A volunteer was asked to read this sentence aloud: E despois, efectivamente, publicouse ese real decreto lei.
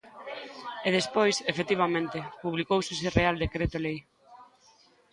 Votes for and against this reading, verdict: 2, 0, accepted